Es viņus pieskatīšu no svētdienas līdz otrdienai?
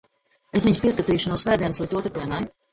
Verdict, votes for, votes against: accepted, 2, 0